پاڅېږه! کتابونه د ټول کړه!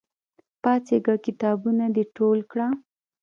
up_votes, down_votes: 0, 2